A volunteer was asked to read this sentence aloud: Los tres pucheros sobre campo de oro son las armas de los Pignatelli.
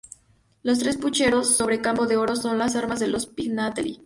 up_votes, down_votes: 2, 0